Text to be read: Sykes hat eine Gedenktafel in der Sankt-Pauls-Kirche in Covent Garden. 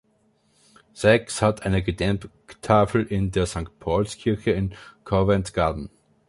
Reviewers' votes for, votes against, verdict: 1, 2, rejected